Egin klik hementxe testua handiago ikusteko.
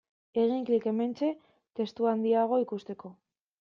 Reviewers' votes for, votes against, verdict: 2, 0, accepted